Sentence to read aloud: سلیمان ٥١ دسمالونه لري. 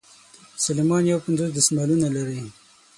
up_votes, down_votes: 0, 2